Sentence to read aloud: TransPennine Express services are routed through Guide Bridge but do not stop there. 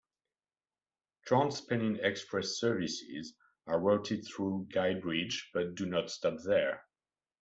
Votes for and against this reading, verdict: 2, 0, accepted